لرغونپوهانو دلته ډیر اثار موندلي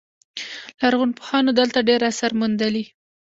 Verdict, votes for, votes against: accepted, 2, 0